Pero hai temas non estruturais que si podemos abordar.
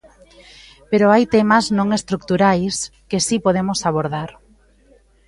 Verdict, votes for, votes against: rejected, 1, 2